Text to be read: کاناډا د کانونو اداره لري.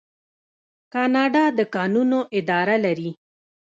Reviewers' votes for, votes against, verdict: 2, 1, accepted